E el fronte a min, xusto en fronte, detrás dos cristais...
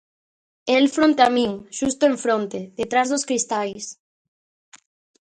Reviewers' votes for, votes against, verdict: 0, 2, rejected